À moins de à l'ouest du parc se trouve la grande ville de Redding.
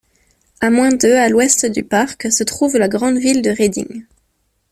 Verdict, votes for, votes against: accepted, 2, 0